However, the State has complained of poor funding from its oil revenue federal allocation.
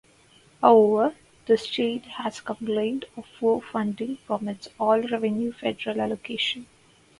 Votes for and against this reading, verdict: 0, 4, rejected